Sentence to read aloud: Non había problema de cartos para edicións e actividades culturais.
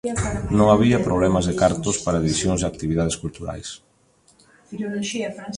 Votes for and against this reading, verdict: 0, 2, rejected